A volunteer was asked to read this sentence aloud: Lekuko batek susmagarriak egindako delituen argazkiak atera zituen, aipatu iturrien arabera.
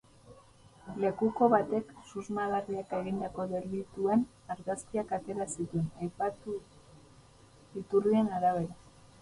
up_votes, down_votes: 2, 0